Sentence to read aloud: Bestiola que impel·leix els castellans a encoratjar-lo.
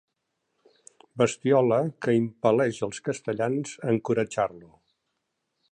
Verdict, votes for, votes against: accepted, 3, 0